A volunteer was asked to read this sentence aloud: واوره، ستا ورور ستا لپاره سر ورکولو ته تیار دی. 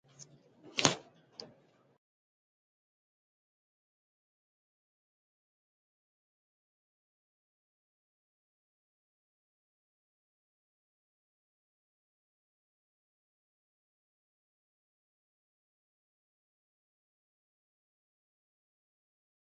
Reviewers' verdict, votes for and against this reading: rejected, 0, 2